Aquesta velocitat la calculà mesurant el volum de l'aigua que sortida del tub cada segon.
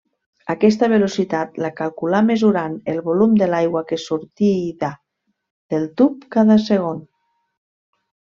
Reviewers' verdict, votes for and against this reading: rejected, 1, 2